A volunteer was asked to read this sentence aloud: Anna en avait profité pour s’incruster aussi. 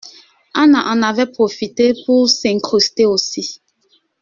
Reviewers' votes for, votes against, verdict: 2, 1, accepted